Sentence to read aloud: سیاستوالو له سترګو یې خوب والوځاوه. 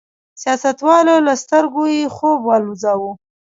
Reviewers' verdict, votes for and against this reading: rejected, 1, 2